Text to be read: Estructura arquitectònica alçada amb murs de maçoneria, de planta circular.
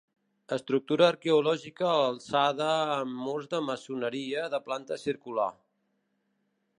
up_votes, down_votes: 1, 2